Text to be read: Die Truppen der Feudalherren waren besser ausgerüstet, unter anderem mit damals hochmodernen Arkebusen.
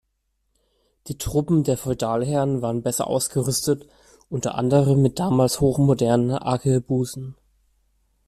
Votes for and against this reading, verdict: 2, 0, accepted